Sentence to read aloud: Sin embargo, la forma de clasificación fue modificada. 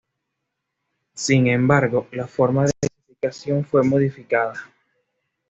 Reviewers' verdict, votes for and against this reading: accepted, 2, 0